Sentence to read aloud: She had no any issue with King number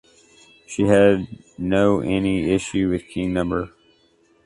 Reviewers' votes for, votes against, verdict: 2, 0, accepted